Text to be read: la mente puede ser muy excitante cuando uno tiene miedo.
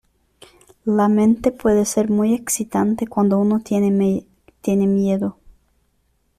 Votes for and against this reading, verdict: 0, 2, rejected